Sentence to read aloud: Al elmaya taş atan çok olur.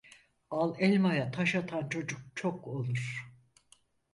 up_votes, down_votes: 0, 4